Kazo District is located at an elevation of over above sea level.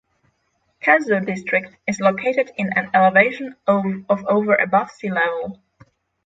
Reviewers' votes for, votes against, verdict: 0, 6, rejected